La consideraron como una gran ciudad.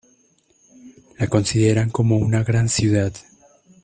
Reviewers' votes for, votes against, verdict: 1, 2, rejected